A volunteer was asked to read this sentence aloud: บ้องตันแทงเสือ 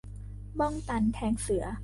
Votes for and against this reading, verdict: 2, 0, accepted